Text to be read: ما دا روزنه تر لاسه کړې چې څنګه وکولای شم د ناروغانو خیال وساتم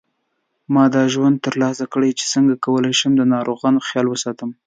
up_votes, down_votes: 2, 0